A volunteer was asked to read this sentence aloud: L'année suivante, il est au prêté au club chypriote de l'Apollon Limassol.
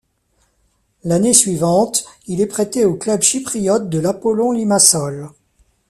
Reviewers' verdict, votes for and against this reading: rejected, 1, 2